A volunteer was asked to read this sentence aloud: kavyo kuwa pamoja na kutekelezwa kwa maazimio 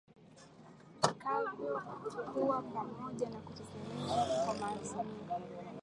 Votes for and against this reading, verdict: 1, 2, rejected